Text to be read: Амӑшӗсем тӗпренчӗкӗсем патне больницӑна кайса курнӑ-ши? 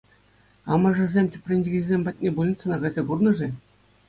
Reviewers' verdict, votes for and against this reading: accepted, 2, 0